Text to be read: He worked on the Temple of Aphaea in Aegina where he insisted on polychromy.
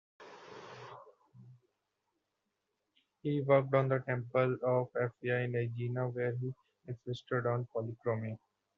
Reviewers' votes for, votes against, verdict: 0, 2, rejected